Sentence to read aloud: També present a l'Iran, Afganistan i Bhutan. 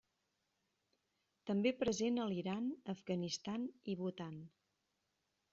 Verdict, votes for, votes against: rejected, 1, 2